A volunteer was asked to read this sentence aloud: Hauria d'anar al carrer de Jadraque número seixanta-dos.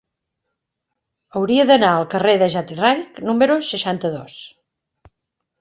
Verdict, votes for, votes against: rejected, 0, 2